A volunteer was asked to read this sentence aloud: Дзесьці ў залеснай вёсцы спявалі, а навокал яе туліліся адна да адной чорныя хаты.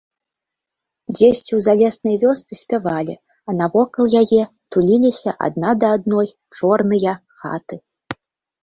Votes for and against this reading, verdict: 2, 0, accepted